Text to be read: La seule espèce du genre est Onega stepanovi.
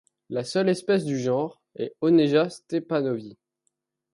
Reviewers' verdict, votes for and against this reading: rejected, 1, 2